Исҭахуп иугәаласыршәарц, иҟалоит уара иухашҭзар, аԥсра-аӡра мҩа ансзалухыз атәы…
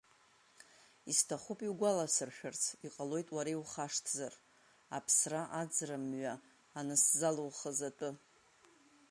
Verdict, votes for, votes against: accepted, 2, 0